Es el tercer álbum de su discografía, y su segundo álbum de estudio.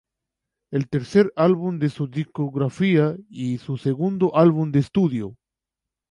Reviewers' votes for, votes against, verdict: 2, 0, accepted